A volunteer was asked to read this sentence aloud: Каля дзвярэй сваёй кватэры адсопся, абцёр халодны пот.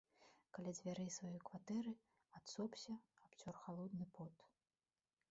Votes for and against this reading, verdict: 1, 2, rejected